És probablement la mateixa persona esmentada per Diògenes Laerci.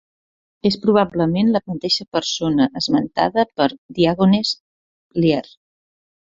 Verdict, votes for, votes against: rejected, 0, 2